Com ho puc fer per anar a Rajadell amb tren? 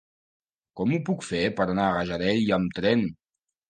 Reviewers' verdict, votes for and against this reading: rejected, 1, 2